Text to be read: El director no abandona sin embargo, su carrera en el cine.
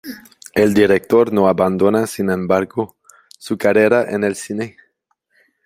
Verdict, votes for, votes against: rejected, 1, 2